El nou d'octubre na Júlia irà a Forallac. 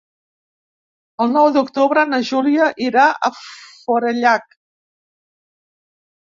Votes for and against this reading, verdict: 1, 2, rejected